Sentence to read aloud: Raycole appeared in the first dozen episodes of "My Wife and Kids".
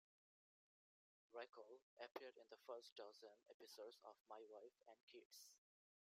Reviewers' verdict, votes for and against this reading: accepted, 2, 0